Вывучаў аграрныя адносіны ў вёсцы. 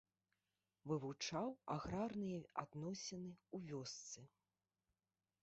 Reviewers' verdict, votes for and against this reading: accepted, 2, 0